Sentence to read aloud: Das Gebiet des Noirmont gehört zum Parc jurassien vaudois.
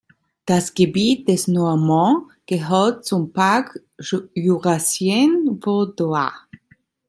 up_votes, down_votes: 1, 2